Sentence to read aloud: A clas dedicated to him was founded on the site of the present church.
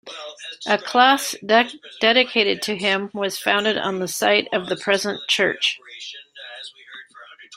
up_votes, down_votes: 1, 2